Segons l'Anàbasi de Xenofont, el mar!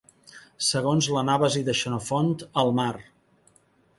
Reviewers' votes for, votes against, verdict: 2, 0, accepted